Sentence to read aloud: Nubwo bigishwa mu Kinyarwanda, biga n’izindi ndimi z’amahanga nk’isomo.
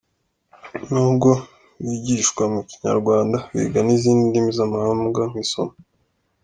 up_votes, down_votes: 2, 0